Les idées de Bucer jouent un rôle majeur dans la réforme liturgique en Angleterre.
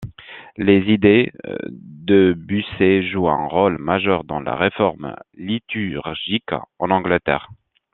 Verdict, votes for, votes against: accepted, 2, 1